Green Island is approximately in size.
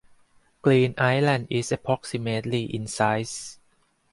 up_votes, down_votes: 4, 0